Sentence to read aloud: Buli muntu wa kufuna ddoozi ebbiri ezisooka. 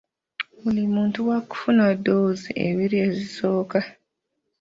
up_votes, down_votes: 2, 1